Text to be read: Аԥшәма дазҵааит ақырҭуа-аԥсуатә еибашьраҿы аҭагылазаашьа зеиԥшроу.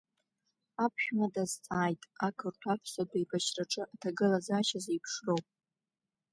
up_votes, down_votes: 2, 0